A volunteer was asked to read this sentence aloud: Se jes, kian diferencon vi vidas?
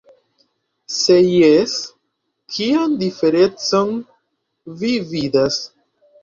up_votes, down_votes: 2, 0